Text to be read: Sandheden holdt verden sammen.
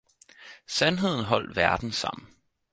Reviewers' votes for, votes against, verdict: 4, 0, accepted